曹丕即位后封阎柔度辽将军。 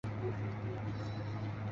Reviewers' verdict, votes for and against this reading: rejected, 0, 3